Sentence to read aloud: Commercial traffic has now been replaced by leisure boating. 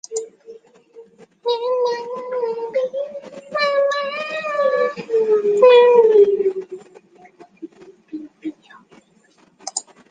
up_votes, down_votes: 0, 2